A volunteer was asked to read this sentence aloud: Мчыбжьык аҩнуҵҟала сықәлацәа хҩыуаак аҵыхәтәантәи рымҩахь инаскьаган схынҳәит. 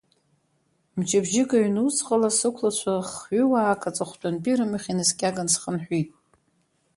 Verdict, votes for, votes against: rejected, 0, 2